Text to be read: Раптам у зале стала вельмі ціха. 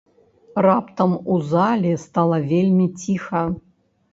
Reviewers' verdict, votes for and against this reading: accepted, 2, 0